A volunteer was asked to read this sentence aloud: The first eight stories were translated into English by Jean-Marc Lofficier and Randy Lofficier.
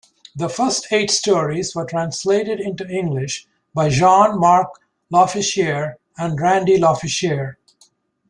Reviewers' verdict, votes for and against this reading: accepted, 2, 0